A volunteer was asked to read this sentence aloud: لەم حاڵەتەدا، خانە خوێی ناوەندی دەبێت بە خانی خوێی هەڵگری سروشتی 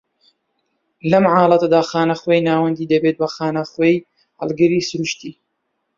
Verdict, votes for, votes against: accepted, 2, 0